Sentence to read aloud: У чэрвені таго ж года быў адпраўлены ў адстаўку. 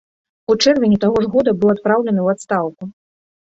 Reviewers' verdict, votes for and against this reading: accepted, 2, 0